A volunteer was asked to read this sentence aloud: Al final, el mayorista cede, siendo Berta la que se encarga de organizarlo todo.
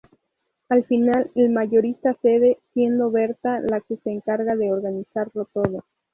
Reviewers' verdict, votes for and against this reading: accepted, 4, 0